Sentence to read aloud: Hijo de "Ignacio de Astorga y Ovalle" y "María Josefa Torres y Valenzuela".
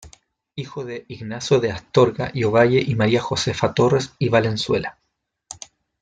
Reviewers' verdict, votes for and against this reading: accepted, 2, 1